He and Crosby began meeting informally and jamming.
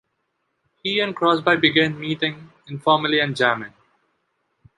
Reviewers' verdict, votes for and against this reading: rejected, 1, 2